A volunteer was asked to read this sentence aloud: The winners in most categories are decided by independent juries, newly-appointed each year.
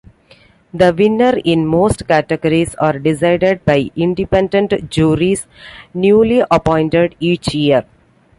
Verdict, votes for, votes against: accepted, 2, 1